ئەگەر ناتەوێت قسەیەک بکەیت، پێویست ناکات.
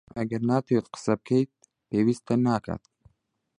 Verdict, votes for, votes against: rejected, 1, 2